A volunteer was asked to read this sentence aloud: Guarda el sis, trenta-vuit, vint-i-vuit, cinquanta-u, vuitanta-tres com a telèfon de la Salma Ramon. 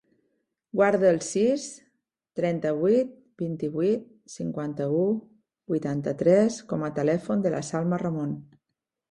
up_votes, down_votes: 5, 0